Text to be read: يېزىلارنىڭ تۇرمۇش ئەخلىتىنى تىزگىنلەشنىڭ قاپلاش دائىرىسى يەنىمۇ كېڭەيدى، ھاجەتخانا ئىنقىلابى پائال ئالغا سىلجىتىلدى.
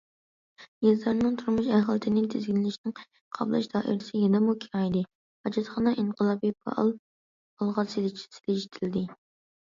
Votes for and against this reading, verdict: 0, 2, rejected